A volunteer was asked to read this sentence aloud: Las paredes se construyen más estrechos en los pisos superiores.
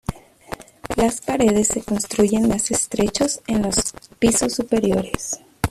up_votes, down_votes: 0, 2